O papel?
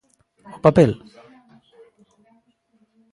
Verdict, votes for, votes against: accepted, 2, 1